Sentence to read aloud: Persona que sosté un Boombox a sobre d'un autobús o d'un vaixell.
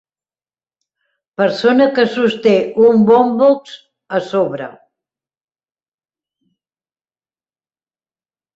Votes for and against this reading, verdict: 0, 2, rejected